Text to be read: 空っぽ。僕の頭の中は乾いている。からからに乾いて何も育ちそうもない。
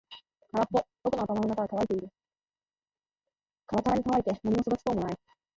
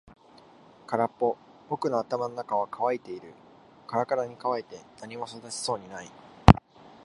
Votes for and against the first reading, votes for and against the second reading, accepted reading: 2, 4, 2, 1, second